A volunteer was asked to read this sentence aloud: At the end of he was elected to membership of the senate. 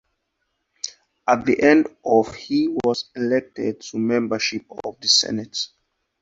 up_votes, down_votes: 2, 2